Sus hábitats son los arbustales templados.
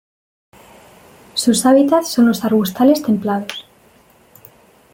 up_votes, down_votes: 2, 0